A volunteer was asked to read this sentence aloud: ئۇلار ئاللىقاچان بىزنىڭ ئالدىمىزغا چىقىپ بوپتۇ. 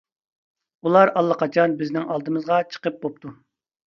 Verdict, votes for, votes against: accepted, 2, 0